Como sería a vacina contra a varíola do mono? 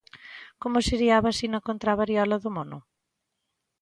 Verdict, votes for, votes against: rejected, 1, 2